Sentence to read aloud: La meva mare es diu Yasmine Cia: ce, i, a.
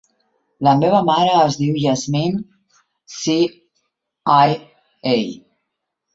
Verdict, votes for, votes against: rejected, 0, 2